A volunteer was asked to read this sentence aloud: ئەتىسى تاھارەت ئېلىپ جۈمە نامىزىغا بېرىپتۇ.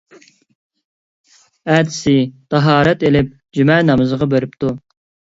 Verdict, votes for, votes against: accepted, 2, 0